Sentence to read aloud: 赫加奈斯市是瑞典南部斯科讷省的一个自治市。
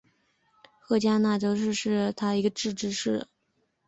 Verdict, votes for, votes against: accepted, 4, 2